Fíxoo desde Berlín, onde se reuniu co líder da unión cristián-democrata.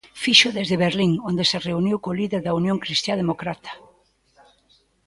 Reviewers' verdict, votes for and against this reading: rejected, 1, 2